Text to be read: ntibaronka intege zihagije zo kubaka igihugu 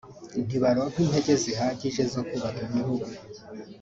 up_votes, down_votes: 3, 0